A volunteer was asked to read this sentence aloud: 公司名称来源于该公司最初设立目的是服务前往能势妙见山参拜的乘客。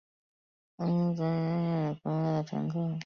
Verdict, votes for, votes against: rejected, 0, 2